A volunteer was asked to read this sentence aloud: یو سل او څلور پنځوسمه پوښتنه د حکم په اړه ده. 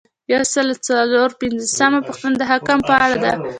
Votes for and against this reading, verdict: 2, 0, accepted